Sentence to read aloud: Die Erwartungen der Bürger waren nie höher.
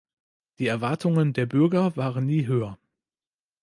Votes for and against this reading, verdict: 2, 0, accepted